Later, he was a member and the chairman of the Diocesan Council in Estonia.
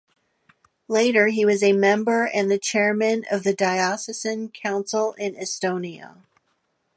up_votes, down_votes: 2, 0